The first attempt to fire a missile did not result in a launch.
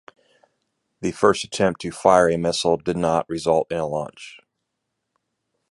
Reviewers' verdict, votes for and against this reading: accepted, 2, 0